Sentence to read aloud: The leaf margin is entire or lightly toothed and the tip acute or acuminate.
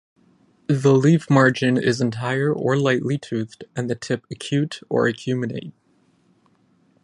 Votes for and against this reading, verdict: 10, 0, accepted